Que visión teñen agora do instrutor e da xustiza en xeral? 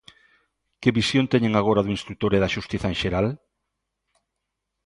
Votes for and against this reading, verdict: 2, 0, accepted